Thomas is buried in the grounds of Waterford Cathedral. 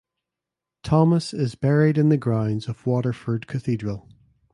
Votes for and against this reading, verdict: 2, 0, accepted